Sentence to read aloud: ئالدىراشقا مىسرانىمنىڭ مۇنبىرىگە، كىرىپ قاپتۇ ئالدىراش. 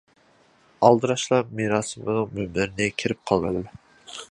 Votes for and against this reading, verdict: 0, 2, rejected